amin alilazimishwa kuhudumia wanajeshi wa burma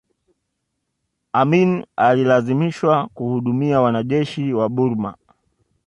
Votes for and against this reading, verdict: 2, 0, accepted